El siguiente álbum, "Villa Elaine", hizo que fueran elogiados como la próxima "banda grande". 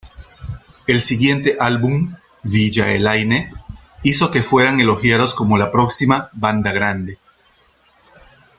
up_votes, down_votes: 2, 0